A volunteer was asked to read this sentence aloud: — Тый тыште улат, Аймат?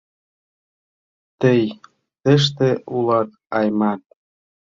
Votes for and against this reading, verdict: 2, 0, accepted